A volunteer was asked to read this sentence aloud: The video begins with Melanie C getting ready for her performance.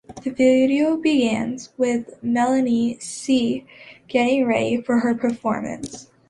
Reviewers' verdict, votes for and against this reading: accepted, 2, 0